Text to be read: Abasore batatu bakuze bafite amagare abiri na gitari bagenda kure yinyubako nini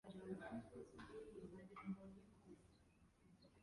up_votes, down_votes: 0, 2